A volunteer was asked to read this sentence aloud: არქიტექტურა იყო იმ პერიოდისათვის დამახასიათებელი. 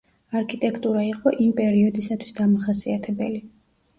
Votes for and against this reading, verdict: 2, 0, accepted